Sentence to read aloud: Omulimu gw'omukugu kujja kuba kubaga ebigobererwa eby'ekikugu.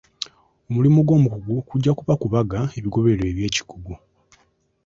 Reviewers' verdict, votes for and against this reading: accepted, 4, 0